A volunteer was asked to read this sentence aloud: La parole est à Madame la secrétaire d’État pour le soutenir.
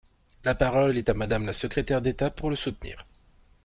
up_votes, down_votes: 2, 0